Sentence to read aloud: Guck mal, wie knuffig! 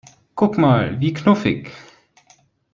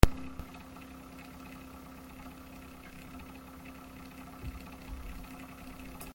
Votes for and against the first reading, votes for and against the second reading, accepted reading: 2, 0, 0, 2, first